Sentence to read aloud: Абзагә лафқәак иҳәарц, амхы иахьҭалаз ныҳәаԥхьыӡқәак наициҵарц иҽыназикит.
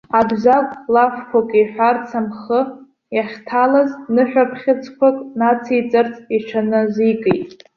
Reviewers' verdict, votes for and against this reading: rejected, 1, 2